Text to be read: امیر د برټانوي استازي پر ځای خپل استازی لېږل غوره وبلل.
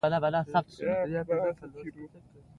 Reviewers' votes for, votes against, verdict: 2, 0, accepted